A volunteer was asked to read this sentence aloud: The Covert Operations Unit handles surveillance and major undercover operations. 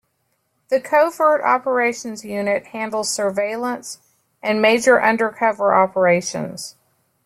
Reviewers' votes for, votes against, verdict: 2, 0, accepted